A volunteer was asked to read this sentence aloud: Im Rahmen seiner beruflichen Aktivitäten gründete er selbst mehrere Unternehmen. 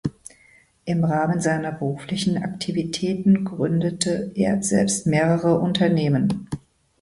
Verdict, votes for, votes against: accepted, 2, 0